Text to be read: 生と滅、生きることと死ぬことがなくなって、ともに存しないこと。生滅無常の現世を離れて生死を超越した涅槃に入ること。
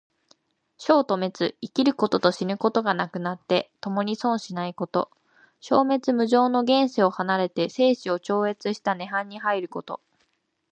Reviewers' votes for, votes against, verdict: 2, 0, accepted